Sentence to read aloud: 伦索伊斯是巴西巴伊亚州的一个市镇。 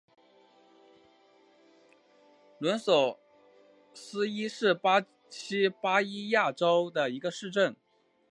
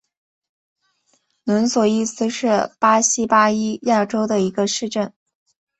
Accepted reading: second